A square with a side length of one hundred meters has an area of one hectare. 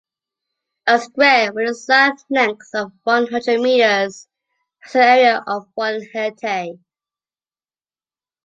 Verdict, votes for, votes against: rejected, 0, 2